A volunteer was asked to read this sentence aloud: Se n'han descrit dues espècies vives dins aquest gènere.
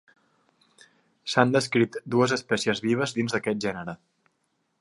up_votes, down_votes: 0, 3